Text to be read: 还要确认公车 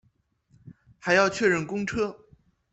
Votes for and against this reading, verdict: 2, 0, accepted